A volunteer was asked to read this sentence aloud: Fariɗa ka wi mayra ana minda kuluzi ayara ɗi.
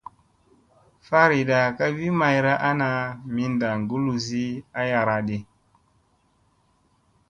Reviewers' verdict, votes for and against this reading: accepted, 2, 0